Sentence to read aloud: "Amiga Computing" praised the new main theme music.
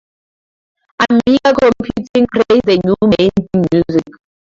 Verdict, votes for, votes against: rejected, 0, 4